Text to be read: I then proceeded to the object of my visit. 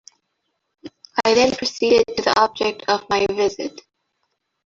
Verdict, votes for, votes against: rejected, 1, 2